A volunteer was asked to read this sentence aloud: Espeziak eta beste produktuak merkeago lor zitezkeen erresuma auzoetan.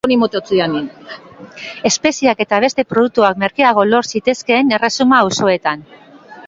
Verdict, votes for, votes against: rejected, 0, 2